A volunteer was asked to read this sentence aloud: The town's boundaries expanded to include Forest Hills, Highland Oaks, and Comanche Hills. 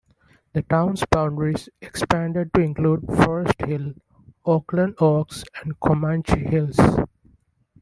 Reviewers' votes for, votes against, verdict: 1, 2, rejected